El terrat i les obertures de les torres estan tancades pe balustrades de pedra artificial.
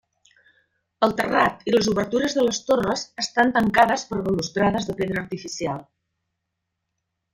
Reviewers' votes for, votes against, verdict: 0, 2, rejected